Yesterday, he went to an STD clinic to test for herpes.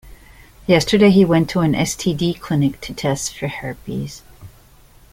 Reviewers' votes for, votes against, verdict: 2, 0, accepted